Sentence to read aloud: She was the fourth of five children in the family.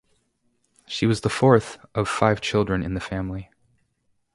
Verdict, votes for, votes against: accepted, 2, 0